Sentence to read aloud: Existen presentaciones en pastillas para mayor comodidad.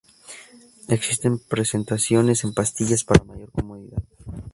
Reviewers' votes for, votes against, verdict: 0, 2, rejected